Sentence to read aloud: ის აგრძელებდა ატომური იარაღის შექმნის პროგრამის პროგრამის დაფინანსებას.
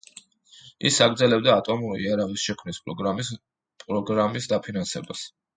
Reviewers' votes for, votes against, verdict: 1, 2, rejected